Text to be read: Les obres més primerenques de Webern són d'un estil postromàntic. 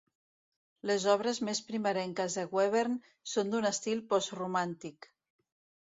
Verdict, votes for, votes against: accepted, 2, 0